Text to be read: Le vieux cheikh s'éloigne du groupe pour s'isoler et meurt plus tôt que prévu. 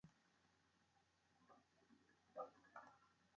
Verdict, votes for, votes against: rejected, 0, 2